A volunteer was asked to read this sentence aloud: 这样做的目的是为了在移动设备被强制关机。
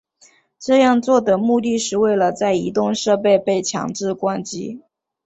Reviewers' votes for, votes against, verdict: 2, 0, accepted